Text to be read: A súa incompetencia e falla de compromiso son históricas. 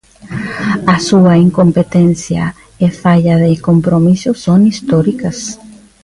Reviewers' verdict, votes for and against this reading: accepted, 2, 0